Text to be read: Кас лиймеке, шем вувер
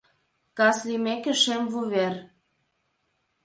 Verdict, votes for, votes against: accepted, 2, 0